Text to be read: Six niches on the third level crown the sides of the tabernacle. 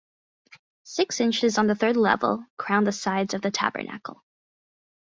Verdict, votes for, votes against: rejected, 2, 4